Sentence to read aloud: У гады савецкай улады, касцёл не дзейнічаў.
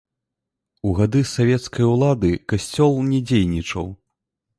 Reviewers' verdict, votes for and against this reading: rejected, 1, 2